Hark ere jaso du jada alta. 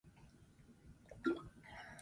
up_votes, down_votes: 0, 2